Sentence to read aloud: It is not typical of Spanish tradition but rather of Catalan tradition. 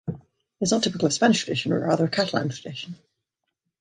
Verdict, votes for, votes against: rejected, 2, 3